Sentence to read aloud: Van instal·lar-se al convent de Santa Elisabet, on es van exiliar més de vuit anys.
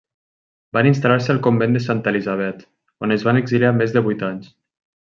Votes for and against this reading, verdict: 3, 0, accepted